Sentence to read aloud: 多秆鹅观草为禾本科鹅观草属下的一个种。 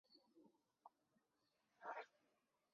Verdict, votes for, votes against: rejected, 0, 2